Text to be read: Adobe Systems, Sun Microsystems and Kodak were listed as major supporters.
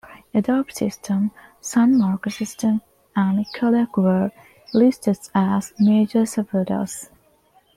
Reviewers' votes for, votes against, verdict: 0, 2, rejected